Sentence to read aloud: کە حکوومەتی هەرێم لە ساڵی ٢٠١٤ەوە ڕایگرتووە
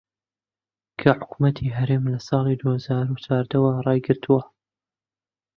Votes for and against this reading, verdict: 0, 2, rejected